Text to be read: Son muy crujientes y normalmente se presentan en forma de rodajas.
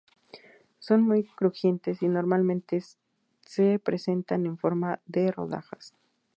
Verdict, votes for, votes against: rejected, 0, 2